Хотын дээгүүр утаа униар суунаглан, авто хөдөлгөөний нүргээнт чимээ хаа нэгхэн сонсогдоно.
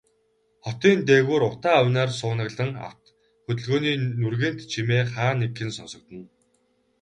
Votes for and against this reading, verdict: 0, 2, rejected